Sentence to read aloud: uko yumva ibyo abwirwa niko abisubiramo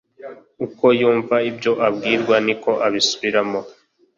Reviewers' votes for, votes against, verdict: 2, 0, accepted